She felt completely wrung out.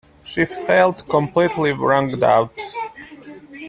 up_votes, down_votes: 0, 2